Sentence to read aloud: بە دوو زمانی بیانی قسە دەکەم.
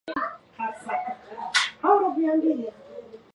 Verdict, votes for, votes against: rejected, 0, 2